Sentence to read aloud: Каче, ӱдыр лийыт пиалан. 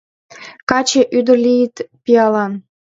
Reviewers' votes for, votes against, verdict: 2, 0, accepted